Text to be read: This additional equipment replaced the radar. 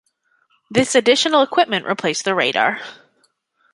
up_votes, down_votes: 2, 0